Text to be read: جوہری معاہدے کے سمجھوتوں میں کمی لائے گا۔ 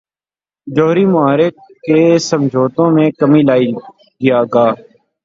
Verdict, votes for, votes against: rejected, 3, 3